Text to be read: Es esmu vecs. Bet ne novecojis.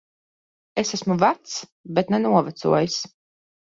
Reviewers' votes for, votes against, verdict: 2, 0, accepted